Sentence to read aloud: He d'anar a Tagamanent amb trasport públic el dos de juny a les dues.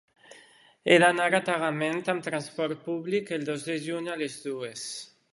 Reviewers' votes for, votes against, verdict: 0, 2, rejected